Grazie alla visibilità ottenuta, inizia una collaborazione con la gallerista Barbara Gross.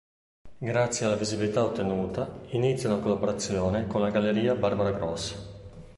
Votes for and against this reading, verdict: 1, 2, rejected